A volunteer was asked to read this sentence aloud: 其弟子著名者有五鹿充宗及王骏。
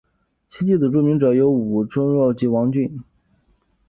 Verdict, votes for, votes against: rejected, 1, 3